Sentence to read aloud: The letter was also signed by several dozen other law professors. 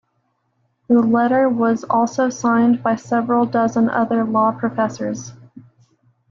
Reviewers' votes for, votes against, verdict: 2, 0, accepted